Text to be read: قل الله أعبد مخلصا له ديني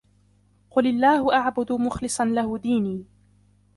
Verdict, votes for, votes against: rejected, 1, 2